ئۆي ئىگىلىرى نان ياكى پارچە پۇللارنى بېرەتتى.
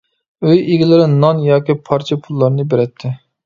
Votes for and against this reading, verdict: 2, 0, accepted